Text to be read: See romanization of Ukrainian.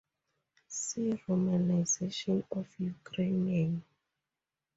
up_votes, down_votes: 2, 0